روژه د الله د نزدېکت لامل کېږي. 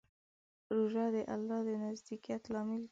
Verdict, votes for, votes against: rejected, 0, 2